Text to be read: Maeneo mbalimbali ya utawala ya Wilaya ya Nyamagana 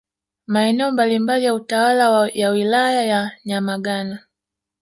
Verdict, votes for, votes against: rejected, 0, 2